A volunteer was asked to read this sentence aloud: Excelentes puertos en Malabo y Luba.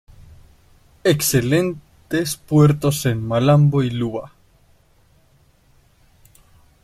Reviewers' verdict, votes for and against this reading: rejected, 0, 2